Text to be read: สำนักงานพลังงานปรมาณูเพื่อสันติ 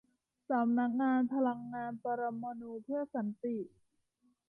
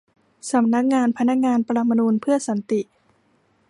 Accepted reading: first